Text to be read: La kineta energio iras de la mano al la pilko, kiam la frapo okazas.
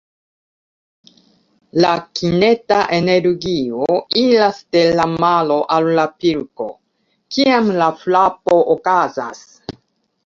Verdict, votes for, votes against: accepted, 2, 0